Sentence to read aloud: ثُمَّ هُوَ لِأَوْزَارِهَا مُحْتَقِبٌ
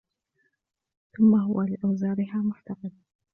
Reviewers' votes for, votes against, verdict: 2, 1, accepted